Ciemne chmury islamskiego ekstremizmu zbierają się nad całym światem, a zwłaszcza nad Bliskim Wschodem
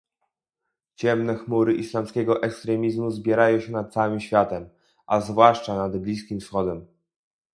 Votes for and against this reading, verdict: 0, 2, rejected